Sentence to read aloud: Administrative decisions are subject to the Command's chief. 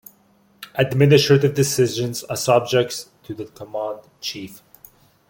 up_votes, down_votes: 1, 2